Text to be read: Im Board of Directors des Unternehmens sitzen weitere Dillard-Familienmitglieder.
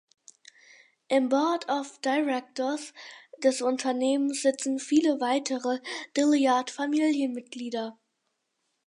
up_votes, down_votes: 0, 4